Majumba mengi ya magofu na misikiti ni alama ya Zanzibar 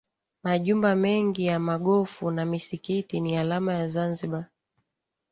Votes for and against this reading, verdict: 2, 0, accepted